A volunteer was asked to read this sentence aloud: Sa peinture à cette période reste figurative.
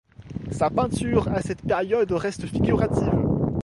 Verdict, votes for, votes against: accepted, 2, 0